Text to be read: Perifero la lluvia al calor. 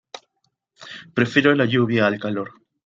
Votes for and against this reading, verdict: 2, 0, accepted